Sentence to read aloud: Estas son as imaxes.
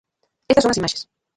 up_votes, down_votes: 0, 2